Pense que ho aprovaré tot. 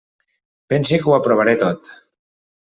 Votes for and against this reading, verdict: 3, 0, accepted